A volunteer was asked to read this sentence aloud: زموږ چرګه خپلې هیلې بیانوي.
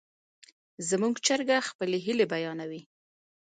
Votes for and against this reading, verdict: 1, 2, rejected